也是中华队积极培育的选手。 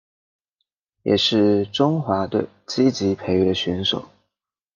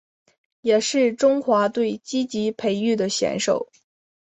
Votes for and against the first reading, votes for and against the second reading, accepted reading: 1, 2, 8, 0, second